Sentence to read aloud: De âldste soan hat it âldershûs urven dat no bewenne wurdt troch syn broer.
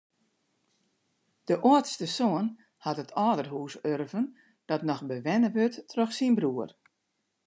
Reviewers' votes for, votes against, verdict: 0, 2, rejected